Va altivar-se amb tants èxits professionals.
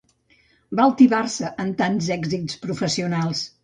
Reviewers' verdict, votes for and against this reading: accepted, 2, 0